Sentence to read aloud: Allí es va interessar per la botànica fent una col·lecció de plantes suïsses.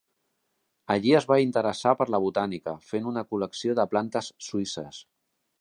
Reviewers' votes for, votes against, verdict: 3, 0, accepted